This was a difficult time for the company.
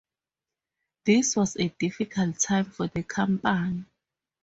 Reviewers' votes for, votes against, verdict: 4, 0, accepted